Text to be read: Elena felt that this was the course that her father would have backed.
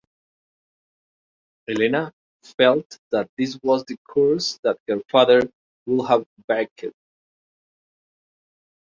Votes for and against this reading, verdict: 1, 2, rejected